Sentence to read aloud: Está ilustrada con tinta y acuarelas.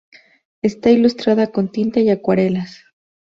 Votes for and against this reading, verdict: 2, 0, accepted